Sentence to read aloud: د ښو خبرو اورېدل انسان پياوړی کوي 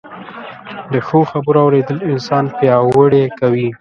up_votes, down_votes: 1, 2